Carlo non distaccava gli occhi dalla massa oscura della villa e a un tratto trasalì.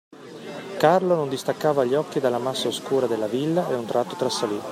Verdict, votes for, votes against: accepted, 2, 1